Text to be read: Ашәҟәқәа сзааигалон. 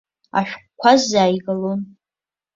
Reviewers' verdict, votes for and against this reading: accepted, 3, 0